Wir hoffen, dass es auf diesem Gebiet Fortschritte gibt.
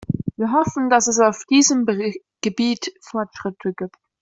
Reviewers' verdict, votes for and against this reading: rejected, 1, 2